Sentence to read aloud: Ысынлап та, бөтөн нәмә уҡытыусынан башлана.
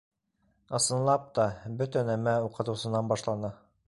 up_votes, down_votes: 2, 3